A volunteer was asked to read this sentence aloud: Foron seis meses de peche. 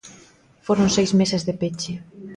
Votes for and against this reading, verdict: 2, 0, accepted